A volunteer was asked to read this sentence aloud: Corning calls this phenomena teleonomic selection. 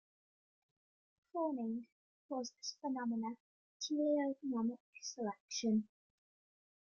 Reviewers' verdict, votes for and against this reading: rejected, 1, 2